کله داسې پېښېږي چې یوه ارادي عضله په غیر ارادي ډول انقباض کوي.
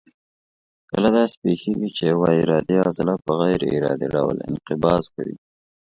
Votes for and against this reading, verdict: 2, 0, accepted